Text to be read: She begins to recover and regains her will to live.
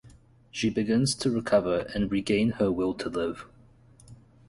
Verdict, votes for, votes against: rejected, 0, 4